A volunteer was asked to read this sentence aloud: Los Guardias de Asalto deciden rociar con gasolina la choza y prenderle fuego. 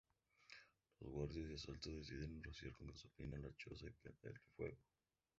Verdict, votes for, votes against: rejected, 0, 2